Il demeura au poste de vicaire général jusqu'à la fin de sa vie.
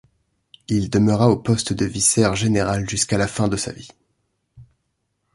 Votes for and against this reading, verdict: 0, 2, rejected